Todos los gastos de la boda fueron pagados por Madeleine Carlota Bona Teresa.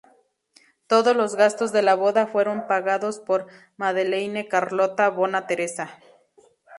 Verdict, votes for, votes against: accepted, 2, 0